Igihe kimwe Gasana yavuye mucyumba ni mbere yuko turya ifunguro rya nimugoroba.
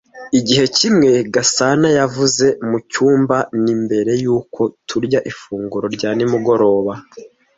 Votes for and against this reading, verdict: 1, 2, rejected